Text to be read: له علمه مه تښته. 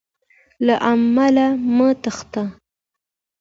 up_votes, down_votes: 2, 0